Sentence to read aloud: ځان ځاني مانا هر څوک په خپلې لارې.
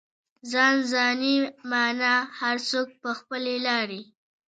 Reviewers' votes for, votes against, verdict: 2, 0, accepted